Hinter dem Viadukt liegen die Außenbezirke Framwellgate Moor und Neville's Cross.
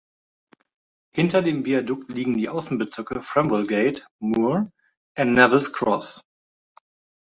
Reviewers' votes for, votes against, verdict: 1, 2, rejected